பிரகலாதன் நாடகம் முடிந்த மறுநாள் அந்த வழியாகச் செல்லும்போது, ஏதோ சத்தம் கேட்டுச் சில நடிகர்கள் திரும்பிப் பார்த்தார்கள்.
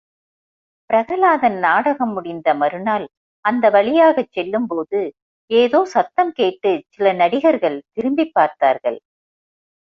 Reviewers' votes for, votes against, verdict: 2, 0, accepted